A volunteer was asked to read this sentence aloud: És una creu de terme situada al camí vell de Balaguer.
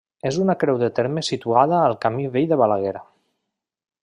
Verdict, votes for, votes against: accepted, 3, 0